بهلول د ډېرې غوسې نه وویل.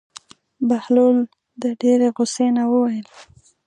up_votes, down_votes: 2, 0